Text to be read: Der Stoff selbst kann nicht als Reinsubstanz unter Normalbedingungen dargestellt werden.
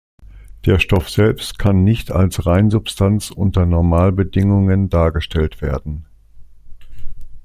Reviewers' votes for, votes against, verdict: 2, 0, accepted